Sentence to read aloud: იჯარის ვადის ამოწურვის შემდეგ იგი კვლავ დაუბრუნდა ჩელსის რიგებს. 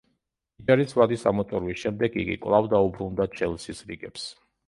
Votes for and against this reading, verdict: 1, 2, rejected